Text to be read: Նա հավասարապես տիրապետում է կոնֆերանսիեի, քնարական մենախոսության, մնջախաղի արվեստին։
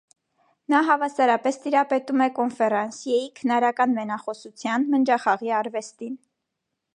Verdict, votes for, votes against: accepted, 2, 0